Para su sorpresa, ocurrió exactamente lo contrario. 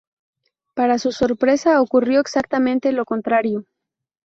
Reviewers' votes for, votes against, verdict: 0, 2, rejected